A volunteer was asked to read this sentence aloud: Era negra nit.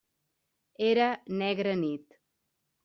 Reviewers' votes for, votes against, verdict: 3, 0, accepted